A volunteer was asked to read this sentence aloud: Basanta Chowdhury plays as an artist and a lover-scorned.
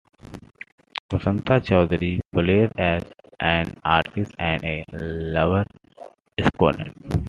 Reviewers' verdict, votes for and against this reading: accepted, 2, 0